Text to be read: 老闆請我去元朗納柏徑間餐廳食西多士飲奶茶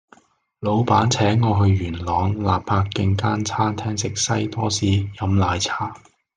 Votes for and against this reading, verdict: 2, 0, accepted